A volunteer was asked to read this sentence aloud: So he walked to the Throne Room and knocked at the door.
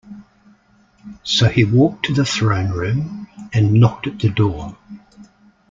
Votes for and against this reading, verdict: 2, 0, accepted